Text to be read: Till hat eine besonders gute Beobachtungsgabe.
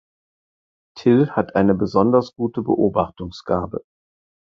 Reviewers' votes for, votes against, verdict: 4, 0, accepted